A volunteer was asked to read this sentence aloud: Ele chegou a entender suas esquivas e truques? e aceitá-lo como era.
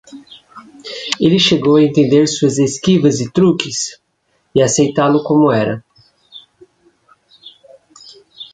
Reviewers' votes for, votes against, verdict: 2, 0, accepted